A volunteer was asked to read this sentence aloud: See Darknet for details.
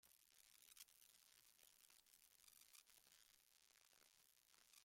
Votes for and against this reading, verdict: 0, 2, rejected